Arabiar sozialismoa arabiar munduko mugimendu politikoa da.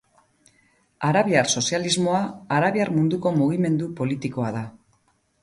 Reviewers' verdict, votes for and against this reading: rejected, 2, 2